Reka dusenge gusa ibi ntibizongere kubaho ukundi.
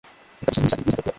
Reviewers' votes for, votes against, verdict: 0, 2, rejected